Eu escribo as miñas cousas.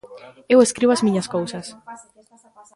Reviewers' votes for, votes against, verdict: 2, 0, accepted